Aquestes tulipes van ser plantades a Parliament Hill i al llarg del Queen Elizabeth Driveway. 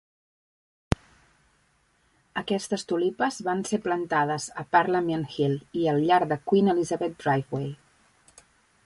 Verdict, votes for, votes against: accepted, 2, 0